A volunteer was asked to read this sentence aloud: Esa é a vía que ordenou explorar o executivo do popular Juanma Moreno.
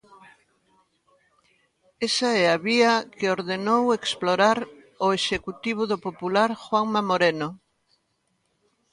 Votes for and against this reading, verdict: 2, 0, accepted